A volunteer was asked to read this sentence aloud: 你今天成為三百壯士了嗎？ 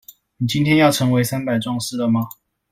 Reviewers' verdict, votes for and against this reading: rejected, 1, 2